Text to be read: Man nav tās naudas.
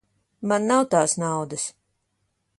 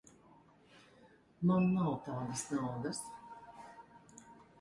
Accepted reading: first